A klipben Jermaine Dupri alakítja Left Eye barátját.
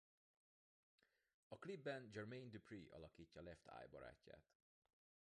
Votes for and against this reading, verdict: 1, 2, rejected